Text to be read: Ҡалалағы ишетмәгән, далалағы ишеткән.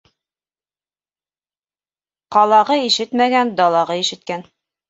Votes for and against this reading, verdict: 0, 2, rejected